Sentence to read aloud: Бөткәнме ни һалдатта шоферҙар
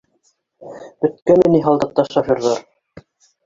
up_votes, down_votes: 1, 2